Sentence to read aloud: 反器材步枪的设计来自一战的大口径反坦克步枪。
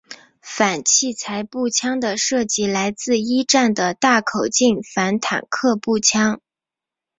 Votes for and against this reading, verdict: 2, 0, accepted